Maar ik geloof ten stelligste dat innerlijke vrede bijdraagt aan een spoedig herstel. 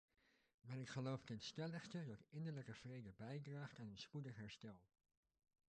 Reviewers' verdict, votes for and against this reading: rejected, 0, 2